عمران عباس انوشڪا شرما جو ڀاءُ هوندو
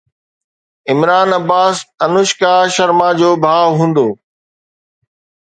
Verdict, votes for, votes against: accepted, 2, 0